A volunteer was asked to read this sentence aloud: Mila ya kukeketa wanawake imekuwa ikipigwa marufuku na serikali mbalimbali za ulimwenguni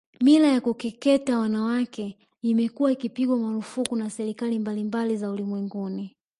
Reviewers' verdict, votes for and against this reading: rejected, 1, 2